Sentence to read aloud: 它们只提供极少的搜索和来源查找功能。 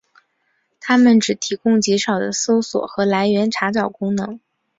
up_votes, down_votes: 3, 0